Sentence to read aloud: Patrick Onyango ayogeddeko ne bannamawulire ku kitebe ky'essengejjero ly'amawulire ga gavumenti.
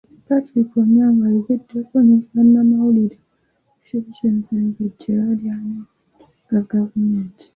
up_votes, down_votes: 1, 2